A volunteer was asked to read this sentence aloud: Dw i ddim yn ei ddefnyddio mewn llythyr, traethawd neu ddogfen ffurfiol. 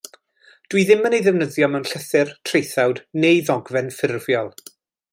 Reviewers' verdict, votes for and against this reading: accepted, 2, 0